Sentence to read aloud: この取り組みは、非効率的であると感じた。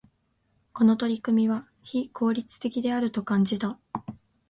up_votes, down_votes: 7, 0